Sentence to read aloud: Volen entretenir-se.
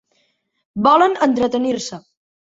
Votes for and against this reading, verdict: 3, 0, accepted